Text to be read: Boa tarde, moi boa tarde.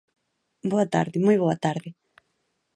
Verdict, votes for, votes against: accepted, 3, 0